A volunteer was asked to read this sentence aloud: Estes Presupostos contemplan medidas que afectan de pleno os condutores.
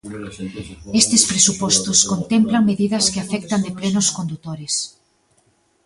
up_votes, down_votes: 2, 1